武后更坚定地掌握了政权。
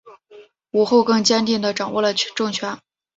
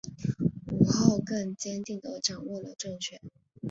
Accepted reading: first